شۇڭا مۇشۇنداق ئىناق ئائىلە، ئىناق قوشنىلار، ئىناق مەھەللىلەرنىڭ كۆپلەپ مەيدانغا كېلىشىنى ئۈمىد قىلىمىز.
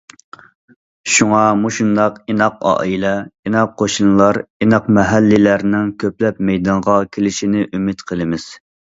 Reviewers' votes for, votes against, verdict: 2, 0, accepted